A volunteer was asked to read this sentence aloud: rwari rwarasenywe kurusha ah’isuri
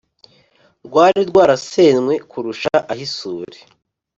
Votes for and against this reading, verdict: 4, 0, accepted